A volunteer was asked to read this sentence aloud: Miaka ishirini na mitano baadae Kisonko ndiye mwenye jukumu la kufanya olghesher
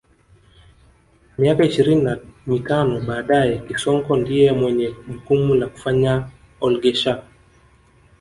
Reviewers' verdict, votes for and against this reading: rejected, 0, 2